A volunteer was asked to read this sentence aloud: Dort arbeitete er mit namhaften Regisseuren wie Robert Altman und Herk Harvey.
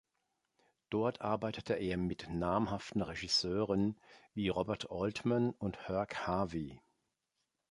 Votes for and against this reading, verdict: 2, 0, accepted